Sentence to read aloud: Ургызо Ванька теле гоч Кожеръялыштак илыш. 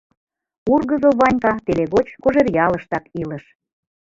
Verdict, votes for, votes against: rejected, 0, 2